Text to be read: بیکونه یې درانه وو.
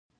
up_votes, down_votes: 1, 2